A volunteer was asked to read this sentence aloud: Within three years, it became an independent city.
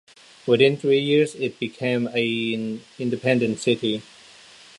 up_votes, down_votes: 1, 2